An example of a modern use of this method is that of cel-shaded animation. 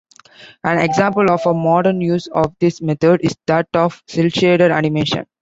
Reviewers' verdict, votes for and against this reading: accepted, 2, 1